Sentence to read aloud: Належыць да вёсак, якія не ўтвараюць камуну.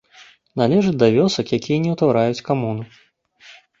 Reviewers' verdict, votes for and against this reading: accepted, 2, 0